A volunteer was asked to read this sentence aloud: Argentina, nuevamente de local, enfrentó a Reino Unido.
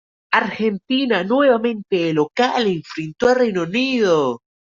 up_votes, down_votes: 0, 2